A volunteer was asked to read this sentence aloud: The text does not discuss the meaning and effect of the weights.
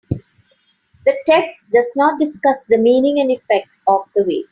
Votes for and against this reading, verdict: 4, 0, accepted